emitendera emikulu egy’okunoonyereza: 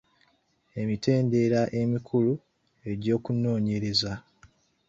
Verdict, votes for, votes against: rejected, 1, 2